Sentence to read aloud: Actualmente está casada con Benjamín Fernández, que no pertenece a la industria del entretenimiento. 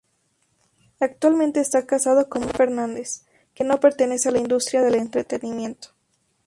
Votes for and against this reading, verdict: 2, 2, rejected